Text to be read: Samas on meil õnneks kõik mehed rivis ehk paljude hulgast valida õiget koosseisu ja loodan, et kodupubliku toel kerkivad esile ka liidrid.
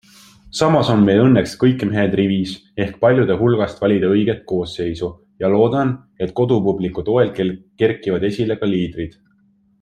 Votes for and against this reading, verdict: 2, 1, accepted